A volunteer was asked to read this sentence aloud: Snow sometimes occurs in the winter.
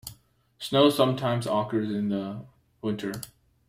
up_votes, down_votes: 2, 1